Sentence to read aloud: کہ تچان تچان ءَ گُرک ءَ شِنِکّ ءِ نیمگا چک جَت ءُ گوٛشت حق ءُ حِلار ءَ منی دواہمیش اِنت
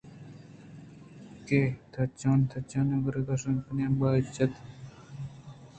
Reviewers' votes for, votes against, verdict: 2, 0, accepted